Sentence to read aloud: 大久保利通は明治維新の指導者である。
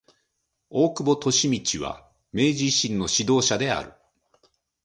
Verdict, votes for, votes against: accepted, 3, 1